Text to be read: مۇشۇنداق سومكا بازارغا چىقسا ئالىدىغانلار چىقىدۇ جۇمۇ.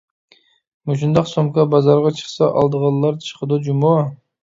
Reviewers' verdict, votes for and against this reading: accepted, 2, 0